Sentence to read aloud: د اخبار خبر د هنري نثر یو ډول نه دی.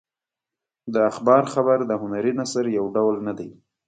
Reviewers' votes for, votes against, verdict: 2, 0, accepted